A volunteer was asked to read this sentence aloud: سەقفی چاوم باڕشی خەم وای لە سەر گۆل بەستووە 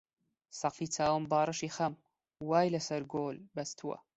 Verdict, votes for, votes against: accepted, 2, 0